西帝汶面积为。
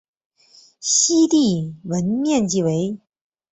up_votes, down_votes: 2, 0